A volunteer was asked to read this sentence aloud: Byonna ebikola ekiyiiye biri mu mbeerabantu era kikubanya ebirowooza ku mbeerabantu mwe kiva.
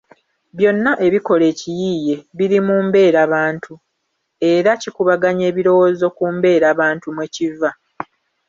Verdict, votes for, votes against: accepted, 2, 0